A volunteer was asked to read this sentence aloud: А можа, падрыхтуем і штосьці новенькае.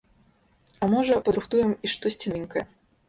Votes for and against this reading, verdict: 0, 2, rejected